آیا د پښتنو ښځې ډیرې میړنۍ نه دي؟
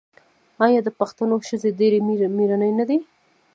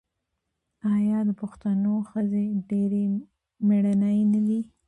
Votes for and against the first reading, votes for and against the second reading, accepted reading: 2, 0, 1, 2, first